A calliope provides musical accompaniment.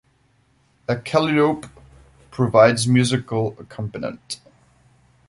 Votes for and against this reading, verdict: 0, 2, rejected